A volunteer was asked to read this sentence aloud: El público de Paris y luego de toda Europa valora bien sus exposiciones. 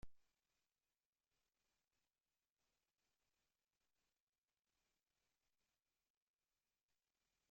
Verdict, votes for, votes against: rejected, 0, 2